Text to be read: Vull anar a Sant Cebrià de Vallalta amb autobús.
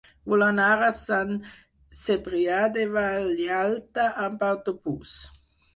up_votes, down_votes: 0, 4